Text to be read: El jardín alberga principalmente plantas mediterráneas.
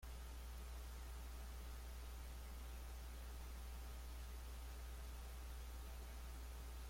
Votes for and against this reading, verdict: 1, 2, rejected